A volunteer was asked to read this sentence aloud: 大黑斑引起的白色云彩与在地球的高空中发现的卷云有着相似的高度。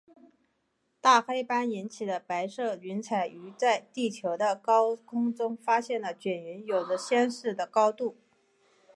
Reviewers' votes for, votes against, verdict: 2, 0, accepted